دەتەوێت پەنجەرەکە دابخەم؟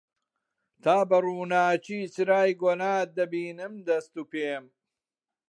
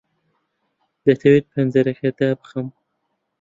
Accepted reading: second